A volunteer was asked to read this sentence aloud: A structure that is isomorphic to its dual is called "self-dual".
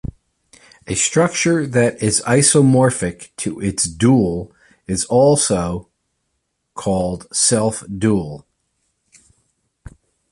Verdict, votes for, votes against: rejected, 1, 2